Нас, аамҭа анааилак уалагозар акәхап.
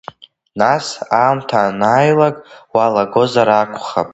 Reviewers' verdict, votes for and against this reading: rejected, 0, 2